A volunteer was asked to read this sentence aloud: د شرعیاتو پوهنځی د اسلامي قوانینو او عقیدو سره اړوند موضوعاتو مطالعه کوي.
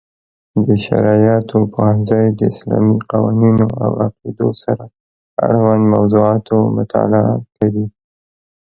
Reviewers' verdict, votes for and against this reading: accepted, 2, 1